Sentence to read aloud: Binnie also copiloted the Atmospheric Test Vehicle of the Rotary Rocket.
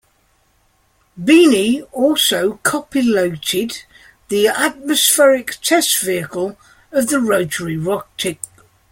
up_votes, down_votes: 1, 2